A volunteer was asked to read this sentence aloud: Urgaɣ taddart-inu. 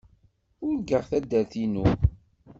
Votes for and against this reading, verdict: 2, 0, accepted